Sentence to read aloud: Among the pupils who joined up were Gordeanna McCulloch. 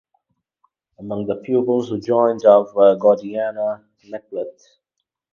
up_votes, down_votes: 2, 2